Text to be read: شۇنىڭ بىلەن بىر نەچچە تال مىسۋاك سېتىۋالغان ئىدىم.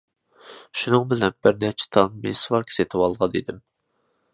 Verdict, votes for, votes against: accepted, 2, 1